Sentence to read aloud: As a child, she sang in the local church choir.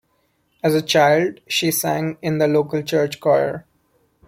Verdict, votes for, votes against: accepted, 2, 0